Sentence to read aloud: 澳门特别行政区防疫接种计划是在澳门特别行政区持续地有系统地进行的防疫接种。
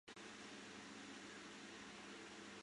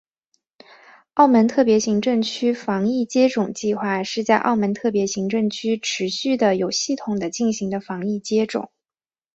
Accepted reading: second